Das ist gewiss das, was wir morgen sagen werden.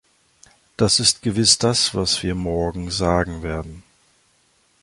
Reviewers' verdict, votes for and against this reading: accepted, 3, 0